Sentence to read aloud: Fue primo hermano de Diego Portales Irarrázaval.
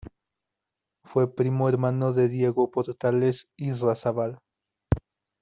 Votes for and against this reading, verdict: 0, 2, rejected